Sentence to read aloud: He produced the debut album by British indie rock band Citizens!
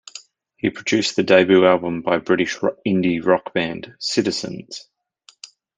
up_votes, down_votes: 0, 2